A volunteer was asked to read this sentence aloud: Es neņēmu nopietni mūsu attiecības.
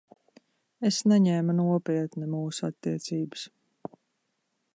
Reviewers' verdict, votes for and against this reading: accepted, 2, 0